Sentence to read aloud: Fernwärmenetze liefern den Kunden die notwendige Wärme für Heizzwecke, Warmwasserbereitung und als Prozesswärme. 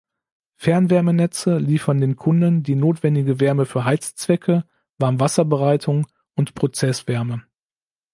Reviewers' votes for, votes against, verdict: 0, 2, rejected